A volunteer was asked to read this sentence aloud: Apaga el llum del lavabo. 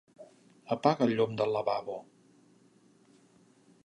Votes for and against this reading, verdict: 3, 0, accepted